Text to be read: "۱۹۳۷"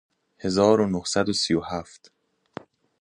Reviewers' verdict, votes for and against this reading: rejected, 0, 2